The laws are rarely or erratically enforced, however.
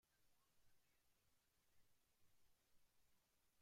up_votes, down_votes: 0, 2